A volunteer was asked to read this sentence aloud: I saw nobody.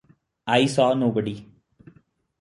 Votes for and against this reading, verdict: 2, 0, accepted